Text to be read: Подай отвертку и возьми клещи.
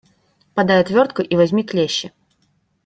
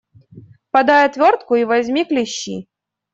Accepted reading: first